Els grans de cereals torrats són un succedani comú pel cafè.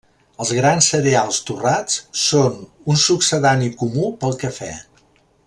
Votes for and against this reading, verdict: 0, 2, rejected